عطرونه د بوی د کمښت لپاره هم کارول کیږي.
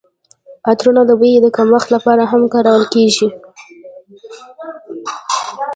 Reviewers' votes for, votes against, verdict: 0, 2, rejected